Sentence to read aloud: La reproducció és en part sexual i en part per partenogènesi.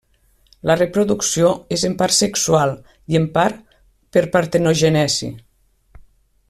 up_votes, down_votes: 1, 2